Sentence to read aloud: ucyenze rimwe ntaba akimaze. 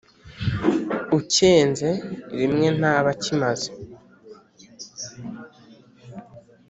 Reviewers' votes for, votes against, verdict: 2, 0, accepted